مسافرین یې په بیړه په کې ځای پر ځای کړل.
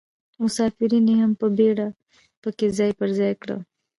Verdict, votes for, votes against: accepted, 2, 0